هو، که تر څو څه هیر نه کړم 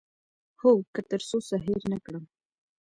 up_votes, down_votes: 2, 1